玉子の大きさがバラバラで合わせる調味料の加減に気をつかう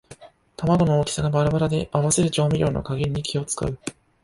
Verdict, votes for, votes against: accepted, 2, 0